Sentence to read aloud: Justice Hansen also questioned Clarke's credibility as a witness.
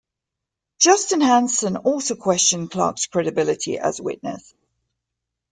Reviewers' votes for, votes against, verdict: 1, 2, rejected